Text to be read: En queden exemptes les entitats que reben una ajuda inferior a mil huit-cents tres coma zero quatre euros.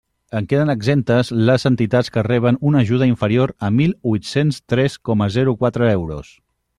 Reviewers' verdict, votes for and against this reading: accepted, 3, 0